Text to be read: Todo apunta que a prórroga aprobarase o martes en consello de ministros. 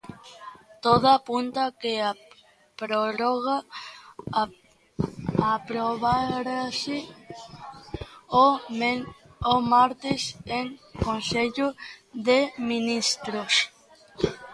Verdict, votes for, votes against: rejected, 0, 2